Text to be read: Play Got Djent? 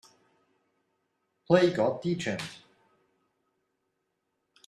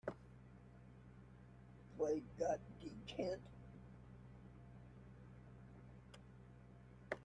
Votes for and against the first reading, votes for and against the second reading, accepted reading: 2, 0, 1, 2, first